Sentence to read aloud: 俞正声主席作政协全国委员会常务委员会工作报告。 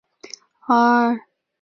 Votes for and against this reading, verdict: 0, 3, rejected